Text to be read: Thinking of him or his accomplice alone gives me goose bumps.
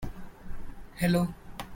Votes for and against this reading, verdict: 0, 2, rejected